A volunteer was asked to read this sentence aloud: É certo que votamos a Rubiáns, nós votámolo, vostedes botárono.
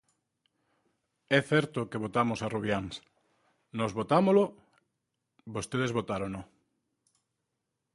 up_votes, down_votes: 2, 0